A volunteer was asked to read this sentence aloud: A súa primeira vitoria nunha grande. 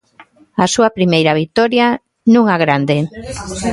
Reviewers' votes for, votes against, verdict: 2, 0, accepted